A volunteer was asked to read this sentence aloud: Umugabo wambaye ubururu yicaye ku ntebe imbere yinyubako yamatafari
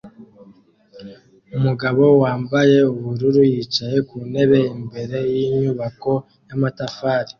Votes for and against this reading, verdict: 2, 0, accepted